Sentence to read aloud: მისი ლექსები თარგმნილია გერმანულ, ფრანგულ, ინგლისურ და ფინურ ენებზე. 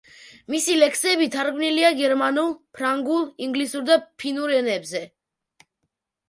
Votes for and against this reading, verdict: 0, 2, rejected